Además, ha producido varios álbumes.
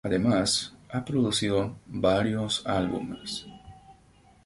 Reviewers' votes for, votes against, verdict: 4, 0, accepted